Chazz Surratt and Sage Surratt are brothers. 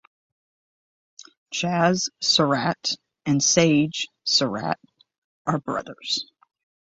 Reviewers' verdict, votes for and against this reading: accepted, 6, 0